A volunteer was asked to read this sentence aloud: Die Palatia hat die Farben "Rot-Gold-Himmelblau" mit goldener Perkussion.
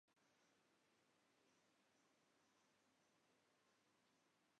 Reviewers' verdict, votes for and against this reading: rejected, 0, 2